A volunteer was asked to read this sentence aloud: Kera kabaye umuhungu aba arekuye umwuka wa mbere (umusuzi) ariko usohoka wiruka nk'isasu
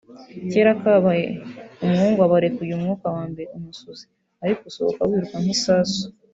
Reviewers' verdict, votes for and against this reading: rejected, 0, 2